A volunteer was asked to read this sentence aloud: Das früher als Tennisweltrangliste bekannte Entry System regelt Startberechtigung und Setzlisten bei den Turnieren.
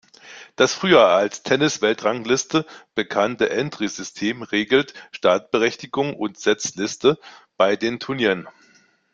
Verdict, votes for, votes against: rejected, 1, 2